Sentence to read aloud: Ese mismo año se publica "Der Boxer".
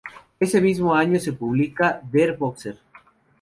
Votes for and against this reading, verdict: 2, 0, accepted